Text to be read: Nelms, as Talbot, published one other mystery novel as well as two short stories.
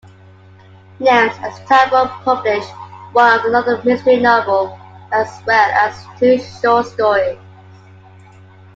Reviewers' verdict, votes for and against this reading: accepted, 2, 0